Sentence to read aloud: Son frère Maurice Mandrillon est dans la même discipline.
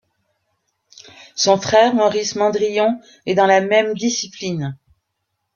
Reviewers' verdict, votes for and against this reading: accepted, 2, 0